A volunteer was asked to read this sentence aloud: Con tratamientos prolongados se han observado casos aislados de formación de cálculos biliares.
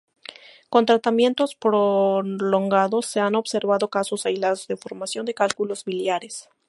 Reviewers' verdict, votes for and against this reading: accepted, 2, 0